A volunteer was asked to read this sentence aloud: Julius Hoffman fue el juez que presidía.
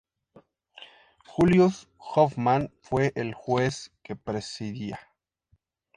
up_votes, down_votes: 2, 0